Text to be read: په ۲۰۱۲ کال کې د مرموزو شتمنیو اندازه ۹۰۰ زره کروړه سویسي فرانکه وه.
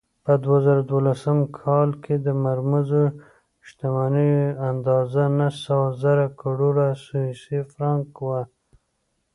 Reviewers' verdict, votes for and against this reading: rejected, 0, 2